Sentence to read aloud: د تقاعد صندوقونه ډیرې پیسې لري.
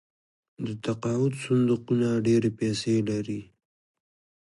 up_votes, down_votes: 2, 1